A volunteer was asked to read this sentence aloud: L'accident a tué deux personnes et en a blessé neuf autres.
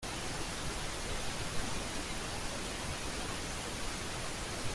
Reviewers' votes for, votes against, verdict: 0, 2, rejected